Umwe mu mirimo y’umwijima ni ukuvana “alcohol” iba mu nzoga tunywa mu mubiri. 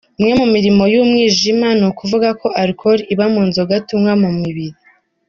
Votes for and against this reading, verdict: 0, 2, rejected